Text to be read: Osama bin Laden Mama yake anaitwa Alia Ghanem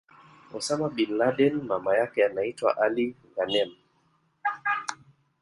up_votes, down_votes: 1, 2